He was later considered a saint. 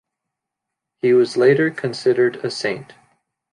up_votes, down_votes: 2, 0